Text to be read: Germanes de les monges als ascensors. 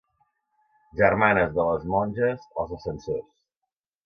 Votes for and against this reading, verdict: 0, 2, rejected